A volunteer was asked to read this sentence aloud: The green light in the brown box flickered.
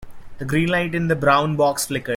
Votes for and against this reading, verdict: 1, 2, rejected